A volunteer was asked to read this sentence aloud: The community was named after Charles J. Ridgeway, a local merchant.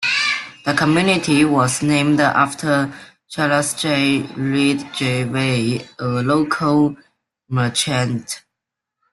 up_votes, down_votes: 2, 0